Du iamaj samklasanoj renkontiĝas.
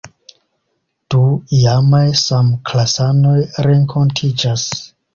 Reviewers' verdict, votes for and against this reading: accepted, 2, 0